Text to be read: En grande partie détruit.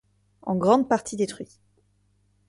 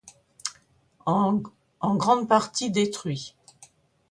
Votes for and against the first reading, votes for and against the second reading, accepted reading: 2, 0, 1, 2, first